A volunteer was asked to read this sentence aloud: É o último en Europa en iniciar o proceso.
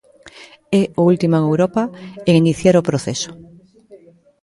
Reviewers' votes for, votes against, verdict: 1, 2, rejected